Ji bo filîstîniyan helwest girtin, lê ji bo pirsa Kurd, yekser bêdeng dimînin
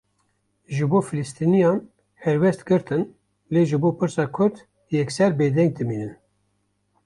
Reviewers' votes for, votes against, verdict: 2, 0, accepted